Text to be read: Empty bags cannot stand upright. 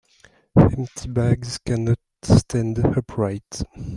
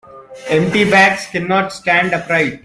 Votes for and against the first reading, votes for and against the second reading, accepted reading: 1, 2, 2, 0, second